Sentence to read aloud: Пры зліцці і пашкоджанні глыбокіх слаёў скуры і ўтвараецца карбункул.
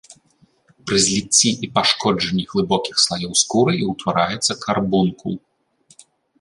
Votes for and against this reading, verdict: 2, 0, accepted